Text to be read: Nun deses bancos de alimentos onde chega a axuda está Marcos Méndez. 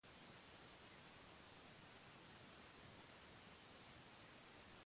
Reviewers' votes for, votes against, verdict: 0, 2, rejected